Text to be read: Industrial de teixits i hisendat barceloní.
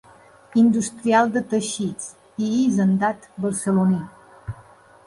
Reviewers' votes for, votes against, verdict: 2, 0, accepted